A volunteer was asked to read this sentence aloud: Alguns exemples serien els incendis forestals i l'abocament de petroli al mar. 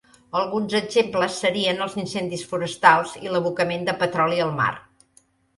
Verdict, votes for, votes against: accepted, 3, 0